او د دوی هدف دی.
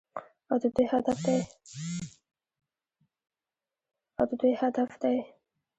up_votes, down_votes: 2, 1